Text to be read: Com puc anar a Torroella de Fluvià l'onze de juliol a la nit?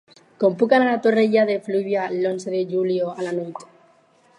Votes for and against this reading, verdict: 2, 4, rejected